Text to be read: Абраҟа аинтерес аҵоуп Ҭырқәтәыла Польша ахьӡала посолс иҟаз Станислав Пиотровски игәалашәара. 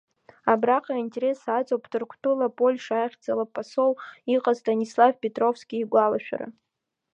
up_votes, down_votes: 2, 0